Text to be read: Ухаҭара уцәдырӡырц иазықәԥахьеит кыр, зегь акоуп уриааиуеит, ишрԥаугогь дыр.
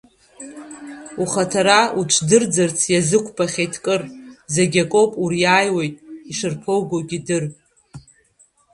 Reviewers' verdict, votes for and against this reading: rejected, 0, 2